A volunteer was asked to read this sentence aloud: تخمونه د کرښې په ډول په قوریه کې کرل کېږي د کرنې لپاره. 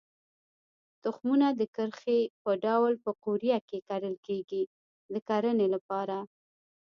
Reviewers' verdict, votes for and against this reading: rejected, 1, 2